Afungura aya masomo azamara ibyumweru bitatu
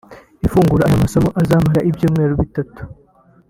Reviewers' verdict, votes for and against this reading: rejected, 1, 2